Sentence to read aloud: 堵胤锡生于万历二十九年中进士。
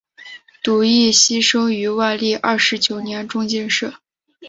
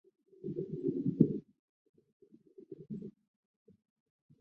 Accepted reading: first